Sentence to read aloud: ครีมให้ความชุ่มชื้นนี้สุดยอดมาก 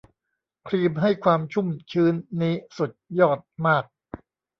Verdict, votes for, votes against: rejected, 0, 2